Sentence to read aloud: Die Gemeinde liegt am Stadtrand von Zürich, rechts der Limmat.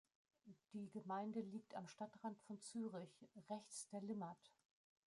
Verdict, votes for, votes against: rejected, 1, 2